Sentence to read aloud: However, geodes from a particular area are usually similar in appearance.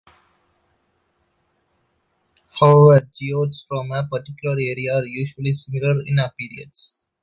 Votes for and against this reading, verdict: 1, 2, rejected